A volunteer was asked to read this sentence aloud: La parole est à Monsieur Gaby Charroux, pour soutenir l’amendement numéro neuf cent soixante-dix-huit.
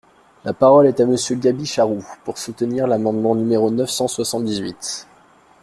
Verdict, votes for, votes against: accepted, 2, 0